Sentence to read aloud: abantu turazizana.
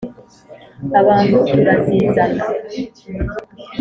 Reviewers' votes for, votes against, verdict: 4, 1, accepted